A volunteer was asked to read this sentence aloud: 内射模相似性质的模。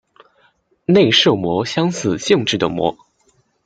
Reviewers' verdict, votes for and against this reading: accepted, 2, 0